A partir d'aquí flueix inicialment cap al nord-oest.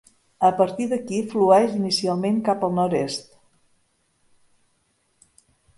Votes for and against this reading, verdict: 1, 2, rejected